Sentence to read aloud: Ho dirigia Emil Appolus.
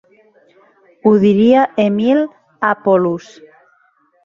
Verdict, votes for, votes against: rejected, 1, 2